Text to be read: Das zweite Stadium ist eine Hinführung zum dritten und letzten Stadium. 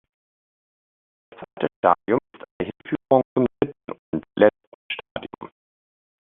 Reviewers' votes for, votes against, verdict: 0, 2, rejected